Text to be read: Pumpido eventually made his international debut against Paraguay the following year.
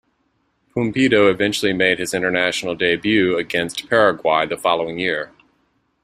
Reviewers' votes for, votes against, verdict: 2, 0, accepted